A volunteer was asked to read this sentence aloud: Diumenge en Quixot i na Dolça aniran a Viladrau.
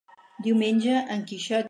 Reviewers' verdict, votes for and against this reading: rejected, 0, 4